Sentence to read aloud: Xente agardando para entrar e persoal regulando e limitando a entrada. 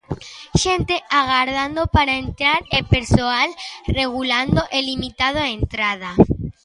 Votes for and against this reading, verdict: 1, 2, rejected